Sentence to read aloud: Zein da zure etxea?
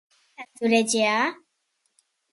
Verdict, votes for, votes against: rejected, 0, 2